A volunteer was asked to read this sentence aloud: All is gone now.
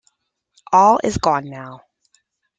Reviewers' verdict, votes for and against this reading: accepted, 2, 0